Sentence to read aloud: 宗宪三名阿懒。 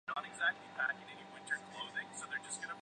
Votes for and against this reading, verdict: 4, 5, rejected